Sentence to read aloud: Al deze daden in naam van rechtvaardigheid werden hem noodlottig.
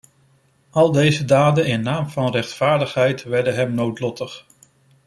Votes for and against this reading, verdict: 2, 0, accepted